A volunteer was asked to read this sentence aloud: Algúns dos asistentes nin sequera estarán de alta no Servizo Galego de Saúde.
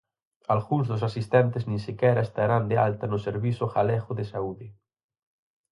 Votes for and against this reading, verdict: 4, 0, accepted